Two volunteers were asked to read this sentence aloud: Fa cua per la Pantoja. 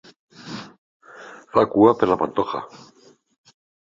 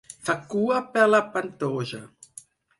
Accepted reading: first